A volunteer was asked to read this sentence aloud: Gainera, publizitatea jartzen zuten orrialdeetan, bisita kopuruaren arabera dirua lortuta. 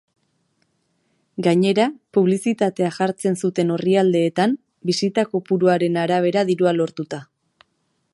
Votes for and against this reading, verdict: 2, 0, accepted